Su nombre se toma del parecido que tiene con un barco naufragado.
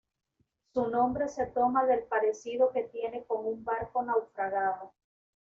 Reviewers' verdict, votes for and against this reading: rejected, 1, 2